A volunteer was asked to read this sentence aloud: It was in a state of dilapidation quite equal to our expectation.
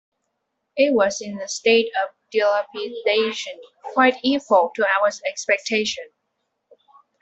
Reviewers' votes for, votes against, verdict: 0, 2, rejected